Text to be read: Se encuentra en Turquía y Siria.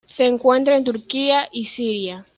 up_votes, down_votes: 2, 1